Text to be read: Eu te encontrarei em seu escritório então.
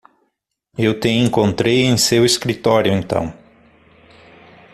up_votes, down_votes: 0, 6